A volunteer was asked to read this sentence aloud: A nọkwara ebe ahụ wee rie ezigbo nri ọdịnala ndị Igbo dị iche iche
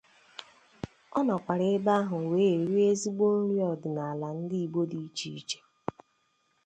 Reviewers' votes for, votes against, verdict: 2, 0, accepted